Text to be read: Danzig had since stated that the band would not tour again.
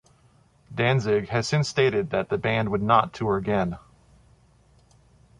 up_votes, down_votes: 2, 0